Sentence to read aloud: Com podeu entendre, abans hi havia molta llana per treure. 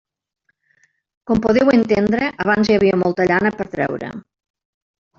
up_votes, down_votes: 1, 2